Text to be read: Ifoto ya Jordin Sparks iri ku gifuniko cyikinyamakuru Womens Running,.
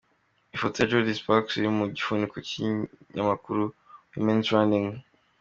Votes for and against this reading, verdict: 2, 1, accepted